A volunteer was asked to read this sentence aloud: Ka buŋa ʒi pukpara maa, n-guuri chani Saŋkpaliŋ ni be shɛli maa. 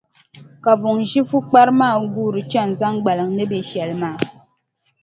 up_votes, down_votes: 0, 2